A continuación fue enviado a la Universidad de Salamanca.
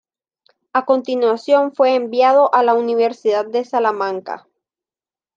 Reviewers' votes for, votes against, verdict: 2, 0, accepted